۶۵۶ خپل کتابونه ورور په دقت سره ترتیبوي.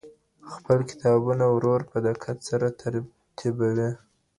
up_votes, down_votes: 0, 2